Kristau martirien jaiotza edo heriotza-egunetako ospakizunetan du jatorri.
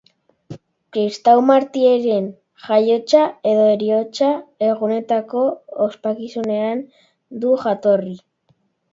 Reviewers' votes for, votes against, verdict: 0, 2, rejected